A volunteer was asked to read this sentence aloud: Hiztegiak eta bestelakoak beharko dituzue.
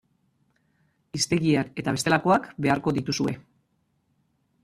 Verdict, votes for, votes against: rejected, 1, 2